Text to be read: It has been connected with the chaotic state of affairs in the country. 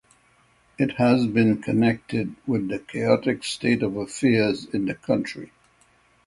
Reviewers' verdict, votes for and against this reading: accepted, 6, 0